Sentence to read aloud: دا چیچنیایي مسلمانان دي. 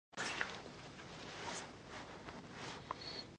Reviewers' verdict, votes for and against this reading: rejected, 0, 2